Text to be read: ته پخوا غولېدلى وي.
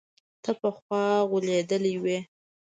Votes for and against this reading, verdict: 2, 0, accepted